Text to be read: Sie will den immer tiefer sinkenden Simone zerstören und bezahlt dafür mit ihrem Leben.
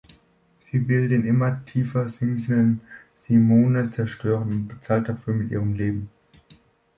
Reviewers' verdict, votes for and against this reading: accepted, 2, 0